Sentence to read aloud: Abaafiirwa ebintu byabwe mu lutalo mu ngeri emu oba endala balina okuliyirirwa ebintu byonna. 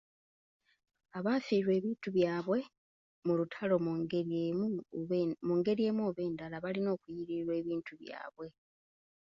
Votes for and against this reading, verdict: 1, 2, rejected